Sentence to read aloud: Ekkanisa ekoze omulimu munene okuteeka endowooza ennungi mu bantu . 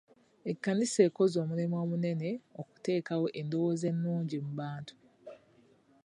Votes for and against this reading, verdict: 2, 1, accepted